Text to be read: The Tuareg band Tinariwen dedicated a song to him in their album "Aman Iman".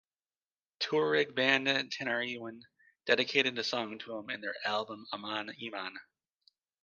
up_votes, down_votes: 1, 2